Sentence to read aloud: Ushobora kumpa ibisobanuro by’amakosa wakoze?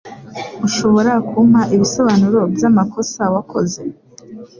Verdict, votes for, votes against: accepted, 2, 0